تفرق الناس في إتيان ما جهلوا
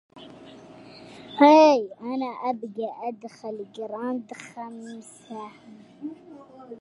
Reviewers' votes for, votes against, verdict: 0, 2, rejected